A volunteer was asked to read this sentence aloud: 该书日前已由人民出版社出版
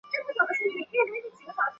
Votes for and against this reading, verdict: 0, 2, rejected